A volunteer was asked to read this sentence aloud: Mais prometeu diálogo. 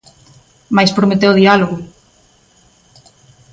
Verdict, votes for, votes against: accepted, 2, 0